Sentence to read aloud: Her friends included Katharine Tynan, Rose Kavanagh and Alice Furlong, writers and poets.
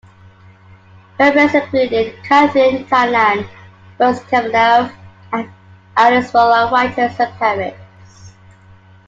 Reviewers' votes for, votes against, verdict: 2, 0, accepted